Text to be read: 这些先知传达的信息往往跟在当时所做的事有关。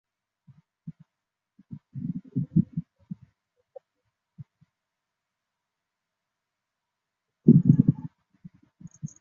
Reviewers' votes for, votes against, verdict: 0, 4, rejected